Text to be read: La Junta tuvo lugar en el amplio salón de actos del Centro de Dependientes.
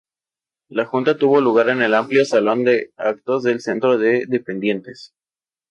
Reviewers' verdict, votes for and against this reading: accepted, 4, 0